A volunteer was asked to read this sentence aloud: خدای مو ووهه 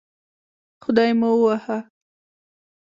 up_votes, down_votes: 2, 0